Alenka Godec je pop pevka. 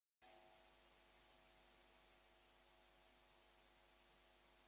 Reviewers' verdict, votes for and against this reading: rejected, 2, 4